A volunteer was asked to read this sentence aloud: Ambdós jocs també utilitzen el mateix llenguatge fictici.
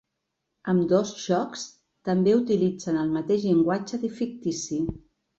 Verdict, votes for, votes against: rejected, 1, 2